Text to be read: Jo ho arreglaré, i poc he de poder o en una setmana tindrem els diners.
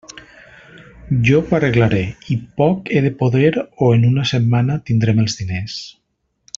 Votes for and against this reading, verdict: 1, 2, rejected